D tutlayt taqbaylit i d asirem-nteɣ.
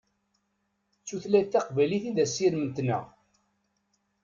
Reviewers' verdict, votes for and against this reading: rejected, 1, 2